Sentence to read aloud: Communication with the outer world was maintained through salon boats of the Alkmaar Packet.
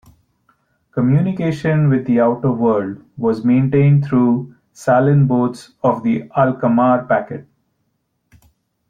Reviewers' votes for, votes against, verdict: 0, 2, rejected